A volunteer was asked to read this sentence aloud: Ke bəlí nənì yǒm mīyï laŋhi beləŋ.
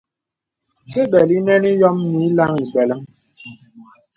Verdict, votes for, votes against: accepted, 2, 0